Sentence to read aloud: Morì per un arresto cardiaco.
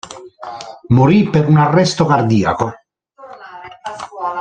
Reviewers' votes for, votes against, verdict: 1, 2, rejected